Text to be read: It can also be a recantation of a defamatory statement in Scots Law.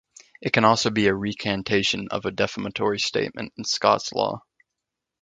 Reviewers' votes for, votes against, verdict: 2, 0, accepted